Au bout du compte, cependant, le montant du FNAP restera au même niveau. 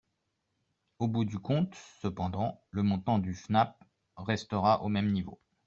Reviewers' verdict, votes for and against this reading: accepted, 2, 0